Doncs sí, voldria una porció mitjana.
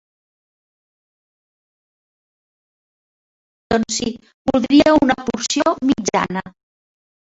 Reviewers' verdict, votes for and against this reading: rejected, 1, 2